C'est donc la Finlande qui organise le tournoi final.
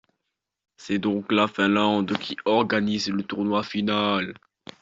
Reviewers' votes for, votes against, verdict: 2, 1, accepted